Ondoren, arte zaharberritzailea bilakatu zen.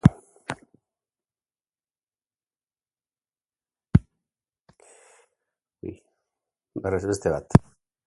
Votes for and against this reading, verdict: 0, 4, rejected